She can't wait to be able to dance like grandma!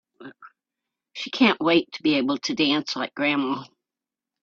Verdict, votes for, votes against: accepted, 3, 0